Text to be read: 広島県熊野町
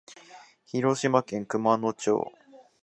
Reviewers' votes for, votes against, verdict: 2, 0, accepted